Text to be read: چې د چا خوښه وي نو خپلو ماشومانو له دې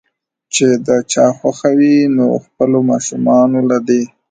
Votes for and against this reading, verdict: 1, 2, rejected